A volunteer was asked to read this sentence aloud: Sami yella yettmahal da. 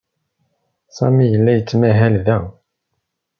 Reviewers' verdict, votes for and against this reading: accepted, 2, 0